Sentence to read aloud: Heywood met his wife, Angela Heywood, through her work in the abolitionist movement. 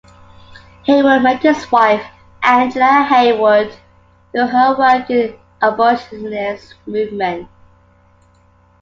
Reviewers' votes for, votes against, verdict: 2, 1, accepted